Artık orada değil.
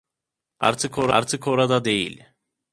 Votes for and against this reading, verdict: 0, 2, rejected